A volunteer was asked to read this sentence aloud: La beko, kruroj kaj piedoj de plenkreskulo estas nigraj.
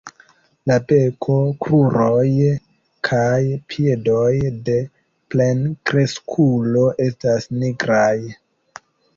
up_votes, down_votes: 2, 1